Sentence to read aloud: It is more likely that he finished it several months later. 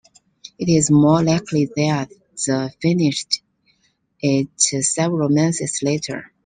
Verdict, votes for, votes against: rejected, 0, 2